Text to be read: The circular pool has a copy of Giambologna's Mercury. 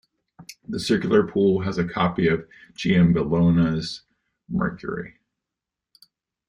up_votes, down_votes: 2, 0